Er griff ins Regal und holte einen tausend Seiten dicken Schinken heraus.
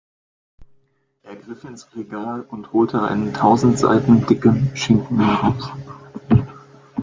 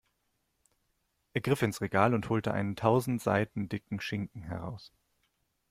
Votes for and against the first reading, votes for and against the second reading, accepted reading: 1, 2, 2, 0, second